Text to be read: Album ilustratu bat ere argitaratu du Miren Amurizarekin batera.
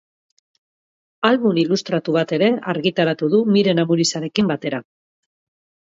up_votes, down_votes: 4, 0